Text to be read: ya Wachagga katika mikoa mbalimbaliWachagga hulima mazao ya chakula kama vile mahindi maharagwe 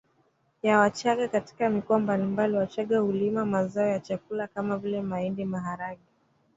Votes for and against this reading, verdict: 0, 2, rejected